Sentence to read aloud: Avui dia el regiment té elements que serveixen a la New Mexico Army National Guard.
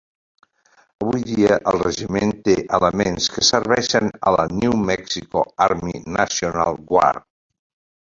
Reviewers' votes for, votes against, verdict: 1, 2, rejected